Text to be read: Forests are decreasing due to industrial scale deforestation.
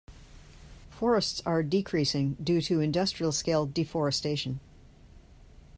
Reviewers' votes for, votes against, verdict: 2, 0, accepted